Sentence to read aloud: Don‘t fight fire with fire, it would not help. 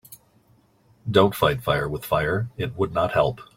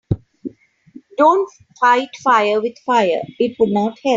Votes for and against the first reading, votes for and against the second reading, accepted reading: 2, 0, 2, 4, first